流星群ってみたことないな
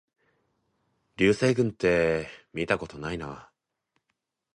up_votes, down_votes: 2, 0